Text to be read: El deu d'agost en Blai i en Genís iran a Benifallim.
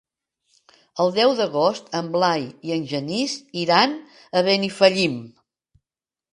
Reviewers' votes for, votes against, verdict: 2, 0, accepted